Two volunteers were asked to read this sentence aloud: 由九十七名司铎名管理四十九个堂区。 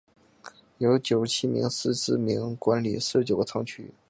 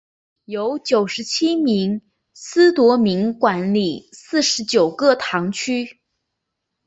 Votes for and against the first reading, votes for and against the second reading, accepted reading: 1, 2, 3, 0, second